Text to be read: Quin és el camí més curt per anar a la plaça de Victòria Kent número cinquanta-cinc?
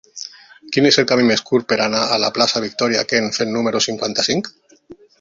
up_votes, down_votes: 1, 2